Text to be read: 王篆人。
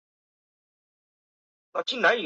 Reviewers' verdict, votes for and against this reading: rejected, 3, 4